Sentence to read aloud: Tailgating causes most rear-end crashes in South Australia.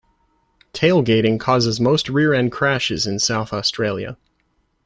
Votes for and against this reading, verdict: 2, 0, accepted